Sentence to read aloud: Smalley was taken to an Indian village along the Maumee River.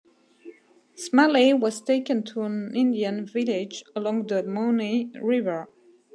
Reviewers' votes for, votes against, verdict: 1, 2, rejected